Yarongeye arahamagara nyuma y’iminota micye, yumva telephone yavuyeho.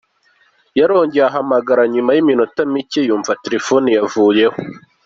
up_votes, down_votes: 2, 0